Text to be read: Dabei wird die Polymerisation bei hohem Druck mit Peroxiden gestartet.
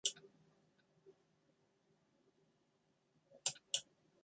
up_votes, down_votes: 0, 2